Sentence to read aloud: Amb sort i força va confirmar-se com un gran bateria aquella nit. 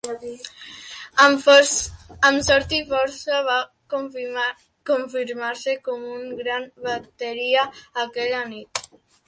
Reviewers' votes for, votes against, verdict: 1, 2, rejected